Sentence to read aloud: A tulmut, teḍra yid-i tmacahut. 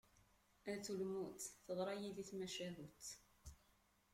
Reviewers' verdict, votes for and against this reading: rejected, 1, 2